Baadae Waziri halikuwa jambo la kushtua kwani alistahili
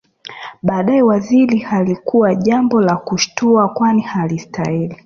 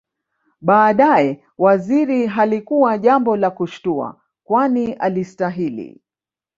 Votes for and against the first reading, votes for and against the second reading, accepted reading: 3, 0, 1, 2, first